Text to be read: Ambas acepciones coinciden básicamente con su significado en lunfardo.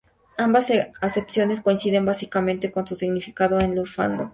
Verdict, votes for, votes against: rejected, 0, 4